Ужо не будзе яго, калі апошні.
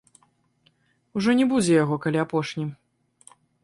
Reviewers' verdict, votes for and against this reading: rejected, 1, 2